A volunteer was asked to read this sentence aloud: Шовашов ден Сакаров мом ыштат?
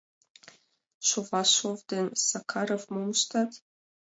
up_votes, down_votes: 2, 0